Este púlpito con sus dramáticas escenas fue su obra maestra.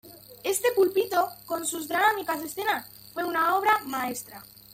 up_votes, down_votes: 1, 2